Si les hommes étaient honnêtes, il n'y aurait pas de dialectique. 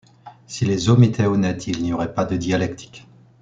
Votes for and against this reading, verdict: 2, 0, accepted